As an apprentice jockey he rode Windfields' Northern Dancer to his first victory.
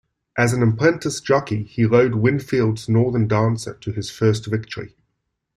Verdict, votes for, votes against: accepted, 2, 0